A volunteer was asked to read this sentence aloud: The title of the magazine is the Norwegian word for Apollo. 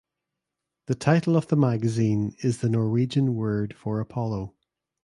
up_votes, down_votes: 2, 0